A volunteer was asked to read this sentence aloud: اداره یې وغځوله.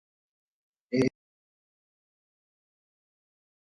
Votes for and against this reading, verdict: 1, 2, rejected